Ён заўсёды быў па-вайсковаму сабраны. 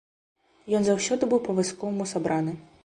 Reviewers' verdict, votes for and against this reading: rejected, 1, 2